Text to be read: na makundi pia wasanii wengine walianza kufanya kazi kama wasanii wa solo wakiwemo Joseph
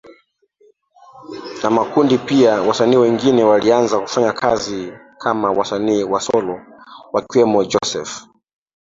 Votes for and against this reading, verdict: 1, 3, rejected